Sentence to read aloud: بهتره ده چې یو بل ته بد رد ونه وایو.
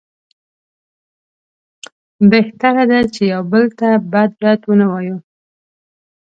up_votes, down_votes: 2, 0